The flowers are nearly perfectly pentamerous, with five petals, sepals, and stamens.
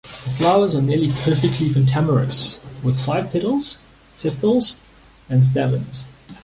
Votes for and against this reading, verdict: 2, 0, accepted